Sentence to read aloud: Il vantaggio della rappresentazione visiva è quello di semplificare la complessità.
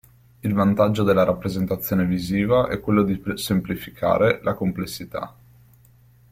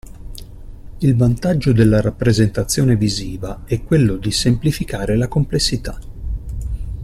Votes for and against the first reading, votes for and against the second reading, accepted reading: 0, 2, 2, 0, second